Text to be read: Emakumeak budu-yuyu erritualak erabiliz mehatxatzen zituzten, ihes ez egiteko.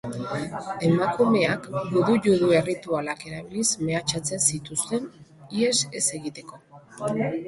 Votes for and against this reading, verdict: 1, 2, rejected